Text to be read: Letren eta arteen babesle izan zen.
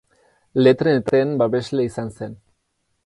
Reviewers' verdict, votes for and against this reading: rejected, 0, 2